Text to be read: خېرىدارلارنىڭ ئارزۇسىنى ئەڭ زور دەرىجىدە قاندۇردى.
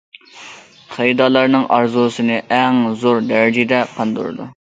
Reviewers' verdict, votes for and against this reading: rejected, 0, 2